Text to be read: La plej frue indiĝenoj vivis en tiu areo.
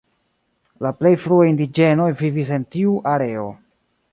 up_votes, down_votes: 1, 2